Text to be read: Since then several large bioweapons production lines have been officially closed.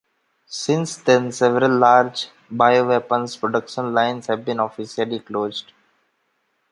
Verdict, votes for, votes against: accepted, 3, 0